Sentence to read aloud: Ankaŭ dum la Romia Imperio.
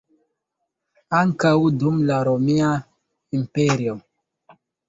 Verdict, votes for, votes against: rejected, 1, 2